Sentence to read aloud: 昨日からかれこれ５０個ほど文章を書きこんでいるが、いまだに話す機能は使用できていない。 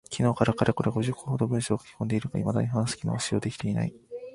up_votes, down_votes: 0, 2